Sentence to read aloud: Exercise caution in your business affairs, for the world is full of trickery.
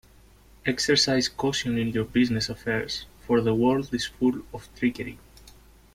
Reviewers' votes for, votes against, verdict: 2, 0, accepted